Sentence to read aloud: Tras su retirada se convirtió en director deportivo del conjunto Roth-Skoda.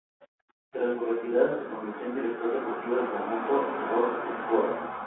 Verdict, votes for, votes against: rejected, 0, 2